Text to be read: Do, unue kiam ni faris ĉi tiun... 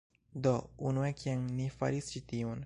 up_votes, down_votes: 1, 2